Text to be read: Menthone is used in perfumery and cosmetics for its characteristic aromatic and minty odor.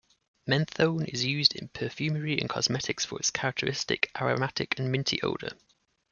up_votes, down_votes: 2, 0